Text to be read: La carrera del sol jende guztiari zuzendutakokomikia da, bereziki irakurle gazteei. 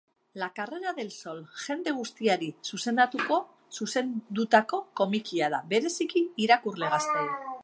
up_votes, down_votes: 0, 2